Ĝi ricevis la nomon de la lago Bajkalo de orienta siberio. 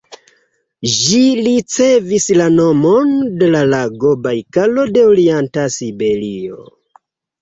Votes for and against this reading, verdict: 1, 2, rejected